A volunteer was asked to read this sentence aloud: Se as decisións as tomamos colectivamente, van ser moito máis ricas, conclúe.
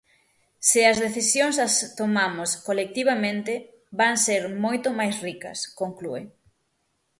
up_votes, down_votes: 6, 0